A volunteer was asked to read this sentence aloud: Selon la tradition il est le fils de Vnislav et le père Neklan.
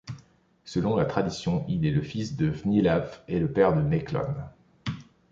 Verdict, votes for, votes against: accepted, 2, 1